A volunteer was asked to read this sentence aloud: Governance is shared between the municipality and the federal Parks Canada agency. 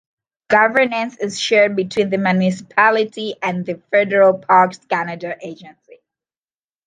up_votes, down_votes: 2, 0